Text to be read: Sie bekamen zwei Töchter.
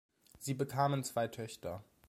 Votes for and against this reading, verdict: 2, 0, accepted